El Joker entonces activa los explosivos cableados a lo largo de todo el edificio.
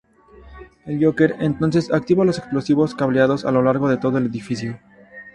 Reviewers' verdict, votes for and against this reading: rejected, 2, 4